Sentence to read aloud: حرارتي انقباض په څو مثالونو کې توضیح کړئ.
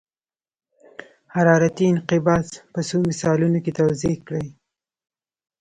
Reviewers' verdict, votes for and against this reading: accepted, 2, 1